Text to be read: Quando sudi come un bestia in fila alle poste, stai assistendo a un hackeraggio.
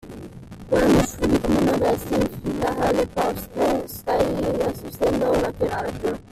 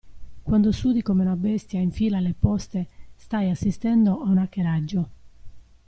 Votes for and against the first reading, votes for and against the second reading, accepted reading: 0, 2, 2, 0, second